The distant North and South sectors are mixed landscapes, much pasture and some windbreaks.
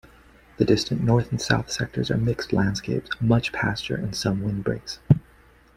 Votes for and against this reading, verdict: 1, 2, rejected